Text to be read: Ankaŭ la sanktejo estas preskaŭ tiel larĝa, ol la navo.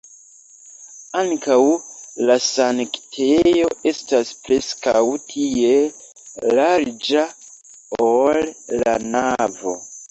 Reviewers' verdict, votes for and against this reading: rejected, 1, 2